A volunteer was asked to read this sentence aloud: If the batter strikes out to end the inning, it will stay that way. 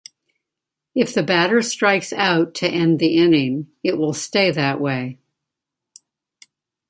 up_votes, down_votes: 1, 2